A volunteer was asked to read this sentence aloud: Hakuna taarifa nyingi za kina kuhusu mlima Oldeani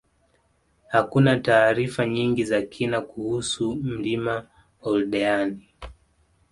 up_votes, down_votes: 2, 1